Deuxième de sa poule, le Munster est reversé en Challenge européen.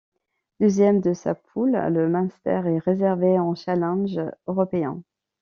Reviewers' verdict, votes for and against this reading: rejected, 1, 2